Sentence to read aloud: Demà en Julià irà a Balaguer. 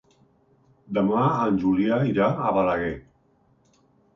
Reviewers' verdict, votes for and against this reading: accepted, 4, 0